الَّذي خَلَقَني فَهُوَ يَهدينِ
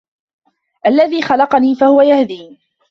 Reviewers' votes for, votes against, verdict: 2, 0, accepted